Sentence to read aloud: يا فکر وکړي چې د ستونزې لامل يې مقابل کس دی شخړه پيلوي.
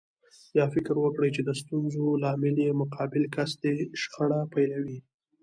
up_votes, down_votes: 1, 2